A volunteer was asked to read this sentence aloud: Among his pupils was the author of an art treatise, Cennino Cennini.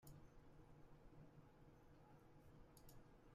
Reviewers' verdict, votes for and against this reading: rejected, 0, 2